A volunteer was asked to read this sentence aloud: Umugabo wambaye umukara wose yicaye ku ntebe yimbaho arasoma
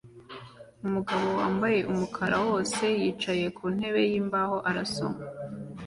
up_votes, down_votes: 2, 0